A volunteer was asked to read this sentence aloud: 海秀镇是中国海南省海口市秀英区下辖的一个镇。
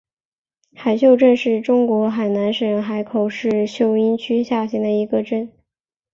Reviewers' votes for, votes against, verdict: 3, 1, accepted